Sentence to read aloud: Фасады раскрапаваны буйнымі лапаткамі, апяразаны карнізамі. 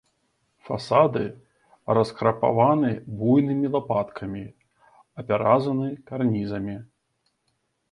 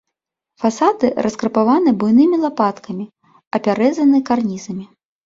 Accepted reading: first